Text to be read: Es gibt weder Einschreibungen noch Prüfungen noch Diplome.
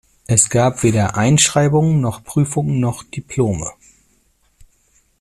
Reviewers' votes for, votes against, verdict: 1, 2, rejected